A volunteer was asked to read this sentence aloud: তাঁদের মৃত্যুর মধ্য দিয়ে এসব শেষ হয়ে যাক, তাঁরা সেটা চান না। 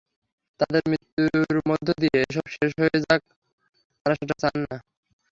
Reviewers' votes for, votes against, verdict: 3, 3, rejected